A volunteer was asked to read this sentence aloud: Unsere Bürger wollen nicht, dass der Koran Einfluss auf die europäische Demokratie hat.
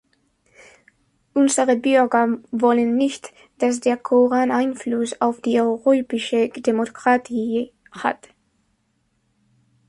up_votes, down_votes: 1, 2